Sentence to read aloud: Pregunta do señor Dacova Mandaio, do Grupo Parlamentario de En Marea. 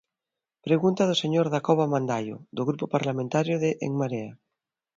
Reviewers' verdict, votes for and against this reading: accepted, 2, 0